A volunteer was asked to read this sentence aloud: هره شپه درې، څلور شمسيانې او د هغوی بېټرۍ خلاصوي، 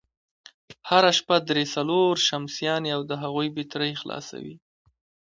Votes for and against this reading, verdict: 2, 1, accepted